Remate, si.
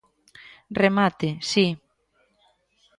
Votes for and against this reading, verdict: 2, 0, accepted